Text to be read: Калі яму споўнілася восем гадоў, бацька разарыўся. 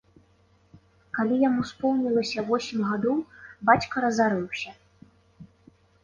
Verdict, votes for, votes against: accepted, 2, 0